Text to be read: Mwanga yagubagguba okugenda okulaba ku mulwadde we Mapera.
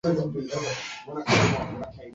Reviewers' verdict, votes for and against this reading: rejected, 0, 2